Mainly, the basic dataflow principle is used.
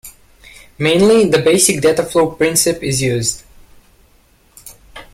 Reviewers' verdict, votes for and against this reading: rejected, 1, 2